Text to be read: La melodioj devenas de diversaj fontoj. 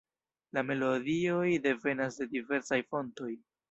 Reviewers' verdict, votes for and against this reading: rejected, 1, 2